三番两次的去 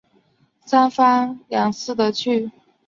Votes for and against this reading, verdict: 1, 2, rejected